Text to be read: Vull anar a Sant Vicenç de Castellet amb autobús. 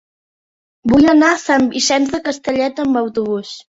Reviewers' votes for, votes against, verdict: 3, 0, accepted